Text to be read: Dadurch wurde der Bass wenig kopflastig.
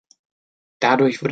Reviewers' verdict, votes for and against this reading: rejected, 0, 2